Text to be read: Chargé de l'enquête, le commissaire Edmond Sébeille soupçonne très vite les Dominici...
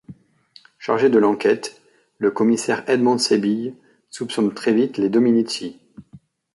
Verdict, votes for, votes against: rejected, 1, 2